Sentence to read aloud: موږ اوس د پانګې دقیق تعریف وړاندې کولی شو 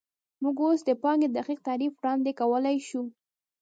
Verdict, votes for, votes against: rejected, 1, 2